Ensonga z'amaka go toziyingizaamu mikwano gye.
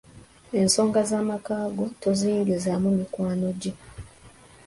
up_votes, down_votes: 2, 0